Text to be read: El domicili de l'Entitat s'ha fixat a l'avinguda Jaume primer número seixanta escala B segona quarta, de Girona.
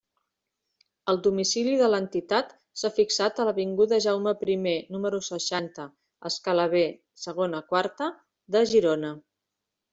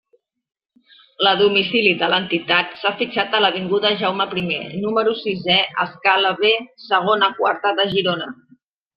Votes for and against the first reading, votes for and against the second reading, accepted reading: 2, 0, 0, 2, first